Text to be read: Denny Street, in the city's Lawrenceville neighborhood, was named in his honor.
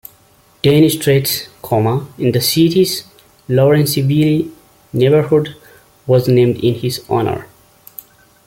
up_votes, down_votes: 0, 2